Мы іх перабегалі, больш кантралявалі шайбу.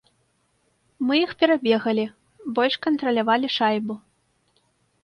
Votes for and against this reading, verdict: 2, 0, accepted